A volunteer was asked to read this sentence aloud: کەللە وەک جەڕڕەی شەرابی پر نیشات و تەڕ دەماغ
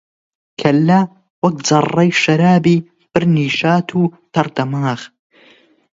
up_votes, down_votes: 20, 0